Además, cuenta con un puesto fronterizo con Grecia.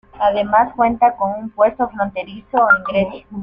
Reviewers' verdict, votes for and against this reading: rejected, 0, 2